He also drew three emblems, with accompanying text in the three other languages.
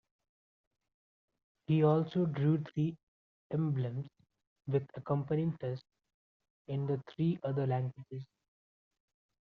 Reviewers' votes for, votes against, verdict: 1, 2, rejected